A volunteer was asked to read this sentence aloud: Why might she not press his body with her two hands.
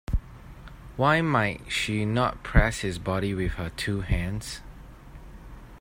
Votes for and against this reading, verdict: 2, 0, accepted